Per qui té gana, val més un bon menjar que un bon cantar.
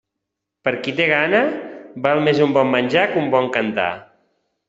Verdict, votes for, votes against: accepted, 3, 0